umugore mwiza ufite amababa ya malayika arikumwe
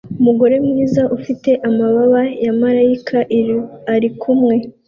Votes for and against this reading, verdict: 2, 0, accepted